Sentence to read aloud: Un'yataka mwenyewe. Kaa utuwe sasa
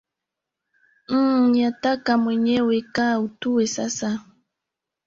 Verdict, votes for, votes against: rejected, 0, 2